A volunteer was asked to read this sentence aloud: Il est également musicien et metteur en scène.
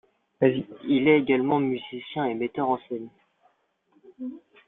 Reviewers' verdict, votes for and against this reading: accepted, 2, 0